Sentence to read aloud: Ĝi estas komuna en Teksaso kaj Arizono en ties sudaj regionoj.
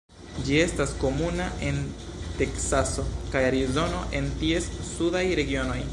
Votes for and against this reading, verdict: 2, 0, accepted